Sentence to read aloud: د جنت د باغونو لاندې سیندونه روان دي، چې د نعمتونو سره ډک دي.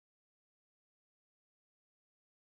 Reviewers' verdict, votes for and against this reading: rejected, 0, 2